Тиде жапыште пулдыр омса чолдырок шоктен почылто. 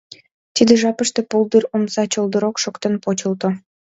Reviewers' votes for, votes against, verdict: 2, 0, accepted